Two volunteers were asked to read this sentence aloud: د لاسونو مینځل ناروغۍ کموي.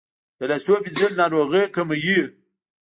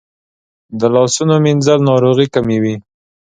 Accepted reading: second